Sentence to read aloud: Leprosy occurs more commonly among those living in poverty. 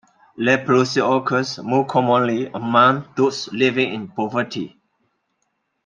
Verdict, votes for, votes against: accepted, 2, 0